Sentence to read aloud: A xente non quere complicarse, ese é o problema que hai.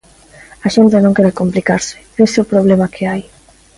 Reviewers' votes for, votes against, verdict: 2, 0, accepted